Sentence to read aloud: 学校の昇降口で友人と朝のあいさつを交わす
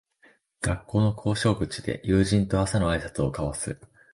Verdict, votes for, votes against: rejected, 1, 2